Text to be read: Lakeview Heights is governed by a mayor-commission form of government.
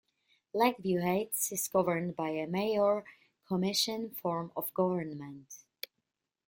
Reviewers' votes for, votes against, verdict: 1, 2, rejected